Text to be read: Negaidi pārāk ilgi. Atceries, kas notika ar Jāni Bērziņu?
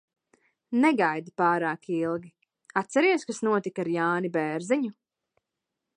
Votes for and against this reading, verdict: 2, 0, accepted